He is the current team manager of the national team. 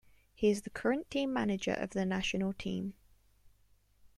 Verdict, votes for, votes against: accepted, 2, 0